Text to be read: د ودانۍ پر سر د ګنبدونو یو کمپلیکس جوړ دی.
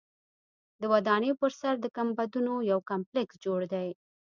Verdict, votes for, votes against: accepted, 2, 0